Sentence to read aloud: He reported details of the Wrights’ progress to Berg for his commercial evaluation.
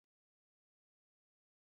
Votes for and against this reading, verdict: 0, 2, rejected